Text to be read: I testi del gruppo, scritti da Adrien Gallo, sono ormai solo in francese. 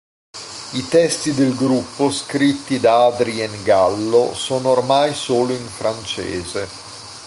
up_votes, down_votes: 2, 0